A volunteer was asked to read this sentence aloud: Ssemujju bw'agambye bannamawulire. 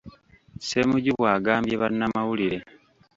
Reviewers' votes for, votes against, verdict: 1, 2, rejected